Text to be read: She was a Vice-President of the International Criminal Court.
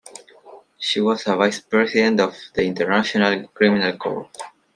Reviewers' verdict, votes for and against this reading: accepted, 2, 0